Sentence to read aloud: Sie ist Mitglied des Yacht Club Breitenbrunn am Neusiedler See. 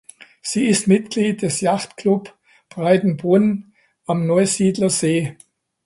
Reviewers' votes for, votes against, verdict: 2, 0, accepted